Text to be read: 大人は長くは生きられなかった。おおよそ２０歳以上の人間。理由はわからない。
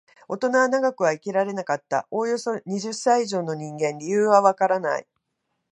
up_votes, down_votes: 0, 2